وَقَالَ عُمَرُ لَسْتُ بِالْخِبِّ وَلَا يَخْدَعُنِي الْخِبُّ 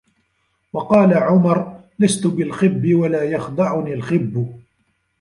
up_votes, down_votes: 0, 2